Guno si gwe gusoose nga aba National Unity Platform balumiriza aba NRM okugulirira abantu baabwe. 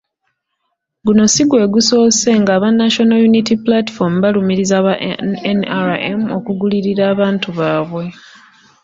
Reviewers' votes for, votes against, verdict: 2, 3, rejected